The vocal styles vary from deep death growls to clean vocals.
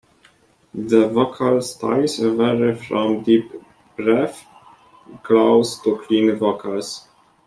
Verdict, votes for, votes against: rejected, 0, 2